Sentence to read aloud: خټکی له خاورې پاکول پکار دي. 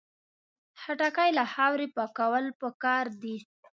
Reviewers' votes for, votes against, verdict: 2, 1, accepted